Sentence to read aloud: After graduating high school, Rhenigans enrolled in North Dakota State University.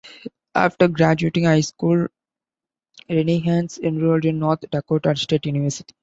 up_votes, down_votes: 2, 1